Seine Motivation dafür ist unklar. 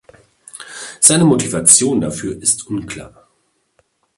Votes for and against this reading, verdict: 2, 0, accepted